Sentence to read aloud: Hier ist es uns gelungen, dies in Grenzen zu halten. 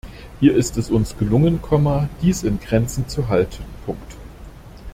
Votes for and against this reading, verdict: 0, 2, rejected